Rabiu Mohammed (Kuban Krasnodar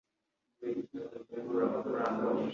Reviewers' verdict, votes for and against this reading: rejected, 0, 2